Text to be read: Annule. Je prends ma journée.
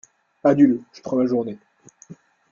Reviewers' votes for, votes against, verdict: 2, 0, accepted